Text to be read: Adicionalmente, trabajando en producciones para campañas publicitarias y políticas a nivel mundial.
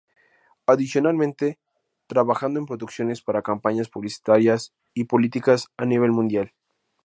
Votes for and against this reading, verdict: 2, 0, accepted